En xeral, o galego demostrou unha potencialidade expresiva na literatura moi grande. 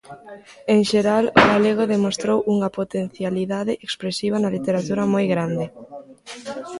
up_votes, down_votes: 2, 0